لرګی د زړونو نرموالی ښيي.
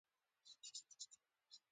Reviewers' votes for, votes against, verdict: 1, 2, rejected